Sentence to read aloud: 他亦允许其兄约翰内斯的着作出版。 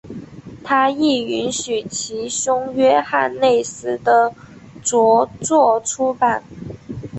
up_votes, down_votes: 2, 1